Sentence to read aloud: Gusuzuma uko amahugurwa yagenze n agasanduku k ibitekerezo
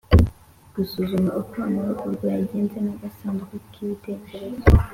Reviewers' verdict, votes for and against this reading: accepted, 2, 0